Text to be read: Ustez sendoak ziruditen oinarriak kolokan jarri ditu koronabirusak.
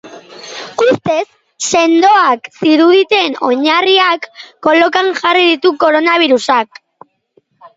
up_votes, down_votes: 0, 4